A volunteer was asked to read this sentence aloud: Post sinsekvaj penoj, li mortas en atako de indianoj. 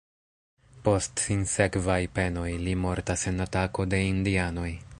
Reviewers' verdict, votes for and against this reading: accepted, 2, 0